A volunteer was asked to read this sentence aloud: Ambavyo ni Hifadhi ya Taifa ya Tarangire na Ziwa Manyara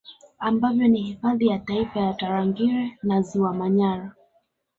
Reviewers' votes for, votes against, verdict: 1, 2, rejected